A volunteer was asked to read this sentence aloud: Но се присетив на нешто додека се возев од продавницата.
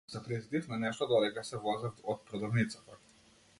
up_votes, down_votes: 1, 2